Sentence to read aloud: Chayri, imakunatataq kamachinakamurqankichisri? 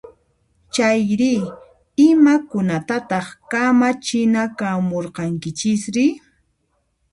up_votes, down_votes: 0, 2